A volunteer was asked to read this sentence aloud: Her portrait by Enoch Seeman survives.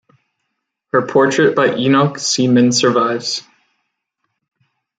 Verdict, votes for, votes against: rejected, 1, 2